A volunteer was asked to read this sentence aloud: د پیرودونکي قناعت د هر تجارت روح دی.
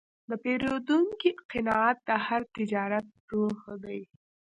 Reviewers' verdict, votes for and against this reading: rejected, 1, 2